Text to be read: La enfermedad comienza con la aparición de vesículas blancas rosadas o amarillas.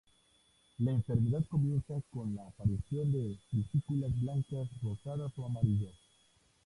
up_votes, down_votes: 2, 2